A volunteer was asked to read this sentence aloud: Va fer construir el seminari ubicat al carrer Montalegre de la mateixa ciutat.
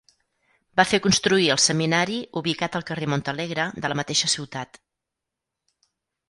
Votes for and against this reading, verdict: 4, 0, accepted